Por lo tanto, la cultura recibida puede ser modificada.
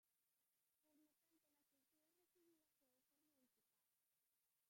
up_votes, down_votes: 0, 2